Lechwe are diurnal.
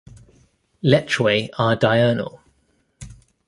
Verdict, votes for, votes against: accepted, 2, 0